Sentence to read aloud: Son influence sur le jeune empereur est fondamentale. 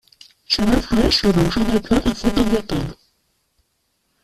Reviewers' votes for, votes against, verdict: 0, 2, rejected